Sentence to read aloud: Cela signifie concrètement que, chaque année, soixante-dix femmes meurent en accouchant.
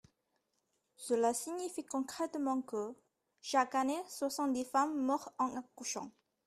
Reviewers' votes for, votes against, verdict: 1, 2, rejected